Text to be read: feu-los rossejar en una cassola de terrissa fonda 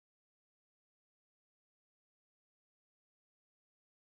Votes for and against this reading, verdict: 0, 2, rejected